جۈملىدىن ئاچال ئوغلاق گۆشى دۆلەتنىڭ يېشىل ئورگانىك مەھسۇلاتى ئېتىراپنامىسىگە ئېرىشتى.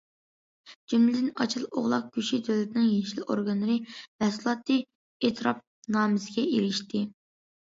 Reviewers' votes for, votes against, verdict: 0, 2, rejected